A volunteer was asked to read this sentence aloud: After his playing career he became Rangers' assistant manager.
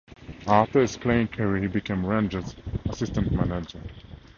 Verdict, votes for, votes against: accepted, 2, 0